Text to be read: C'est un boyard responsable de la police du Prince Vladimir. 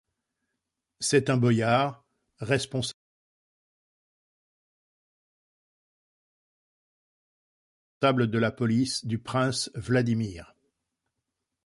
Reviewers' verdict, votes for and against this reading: rejected, 0, 2